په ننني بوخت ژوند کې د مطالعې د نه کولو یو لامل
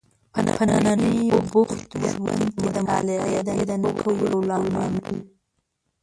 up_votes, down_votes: 0, 2